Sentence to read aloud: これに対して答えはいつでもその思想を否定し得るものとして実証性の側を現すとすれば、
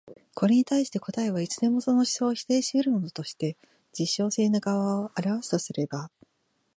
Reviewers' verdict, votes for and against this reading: rejected, 0, 2